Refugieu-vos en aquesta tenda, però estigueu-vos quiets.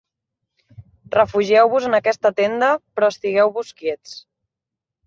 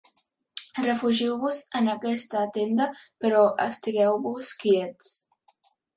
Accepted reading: first